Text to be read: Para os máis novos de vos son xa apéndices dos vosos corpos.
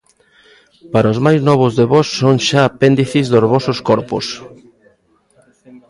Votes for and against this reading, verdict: 2, 1, accepted